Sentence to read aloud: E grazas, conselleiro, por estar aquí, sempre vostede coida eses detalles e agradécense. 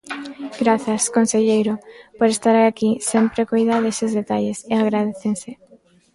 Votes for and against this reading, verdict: 0, 3, rejected